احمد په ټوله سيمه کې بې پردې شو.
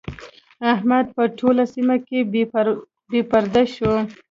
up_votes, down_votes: 1, 2